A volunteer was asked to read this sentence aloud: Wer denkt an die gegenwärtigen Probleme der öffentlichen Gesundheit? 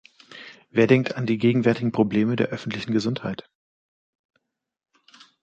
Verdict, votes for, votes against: accepted, 2, 0